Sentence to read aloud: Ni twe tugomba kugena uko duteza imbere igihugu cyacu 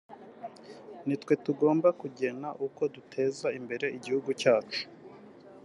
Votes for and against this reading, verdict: 2, 0, accepted